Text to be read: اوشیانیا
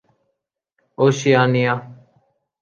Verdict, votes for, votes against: accepted, 2, 0